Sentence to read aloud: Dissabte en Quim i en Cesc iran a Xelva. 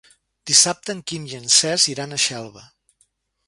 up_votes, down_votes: 3, 0